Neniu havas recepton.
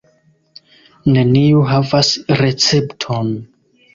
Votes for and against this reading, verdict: 1, 2, rejected